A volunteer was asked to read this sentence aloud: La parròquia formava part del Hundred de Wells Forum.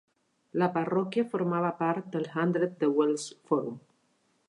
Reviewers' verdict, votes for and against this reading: accepted, 2, 0